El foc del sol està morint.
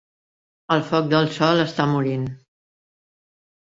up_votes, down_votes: 2, 0